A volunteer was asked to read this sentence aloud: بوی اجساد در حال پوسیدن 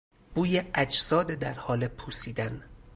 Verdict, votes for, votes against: rejected, 0, 2